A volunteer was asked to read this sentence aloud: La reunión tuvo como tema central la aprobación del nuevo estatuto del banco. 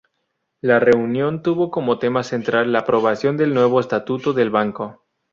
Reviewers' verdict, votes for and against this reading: accepted, 2, 0